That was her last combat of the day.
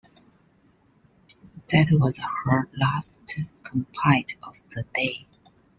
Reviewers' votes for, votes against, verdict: 0, 2, rejected